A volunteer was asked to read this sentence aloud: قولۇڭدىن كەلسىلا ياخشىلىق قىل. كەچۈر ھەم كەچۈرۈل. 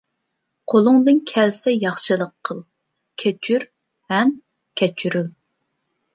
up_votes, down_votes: 0, 2